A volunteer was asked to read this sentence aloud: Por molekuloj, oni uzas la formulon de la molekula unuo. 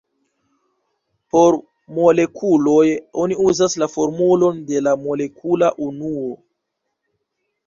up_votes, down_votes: 2, 0